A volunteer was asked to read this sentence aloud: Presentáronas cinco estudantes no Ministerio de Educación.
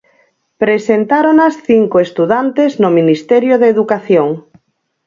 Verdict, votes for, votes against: accepted, 4, 0